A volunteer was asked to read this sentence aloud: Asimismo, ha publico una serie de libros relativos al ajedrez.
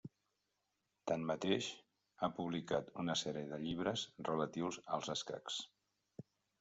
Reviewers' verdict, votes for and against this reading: rejected, 0, 2